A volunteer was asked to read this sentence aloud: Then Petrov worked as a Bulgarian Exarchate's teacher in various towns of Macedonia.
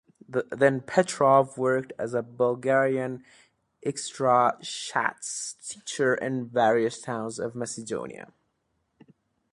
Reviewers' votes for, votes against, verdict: 1, 2, rejected